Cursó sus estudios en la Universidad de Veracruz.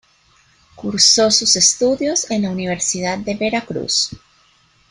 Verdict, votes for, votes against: accepted, 2, 1